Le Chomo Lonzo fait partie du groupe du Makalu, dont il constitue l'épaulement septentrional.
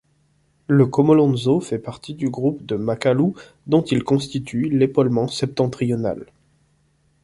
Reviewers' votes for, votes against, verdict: 1, 2, rejected